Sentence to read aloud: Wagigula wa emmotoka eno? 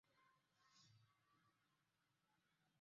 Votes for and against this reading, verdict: 1, 2, rejected